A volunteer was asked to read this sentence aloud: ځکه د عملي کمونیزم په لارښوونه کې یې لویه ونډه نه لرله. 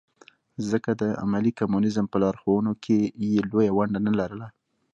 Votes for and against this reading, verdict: 0, 2, rejected